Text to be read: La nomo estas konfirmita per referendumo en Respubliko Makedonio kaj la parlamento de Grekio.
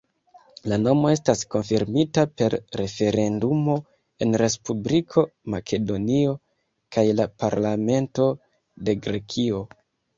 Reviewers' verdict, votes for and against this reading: accepted, 2, 0